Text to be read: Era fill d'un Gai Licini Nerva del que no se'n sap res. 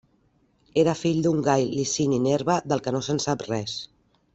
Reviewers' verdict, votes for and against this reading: accepted, 2, 0